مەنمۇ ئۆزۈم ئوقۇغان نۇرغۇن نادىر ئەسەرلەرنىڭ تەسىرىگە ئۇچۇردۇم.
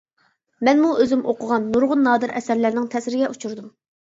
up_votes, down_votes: 2, 0